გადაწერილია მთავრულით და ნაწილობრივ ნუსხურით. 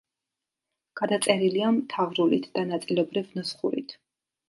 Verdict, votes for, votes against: accepted, 2, 0